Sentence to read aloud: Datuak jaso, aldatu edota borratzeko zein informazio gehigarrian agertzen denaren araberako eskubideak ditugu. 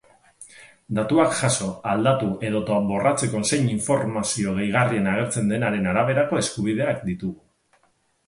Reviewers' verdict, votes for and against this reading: accepted, 6, 0